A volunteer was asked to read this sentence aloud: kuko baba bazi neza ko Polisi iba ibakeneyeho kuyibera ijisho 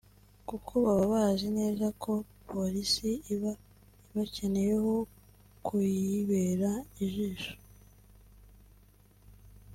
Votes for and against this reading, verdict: 1, 2, rejected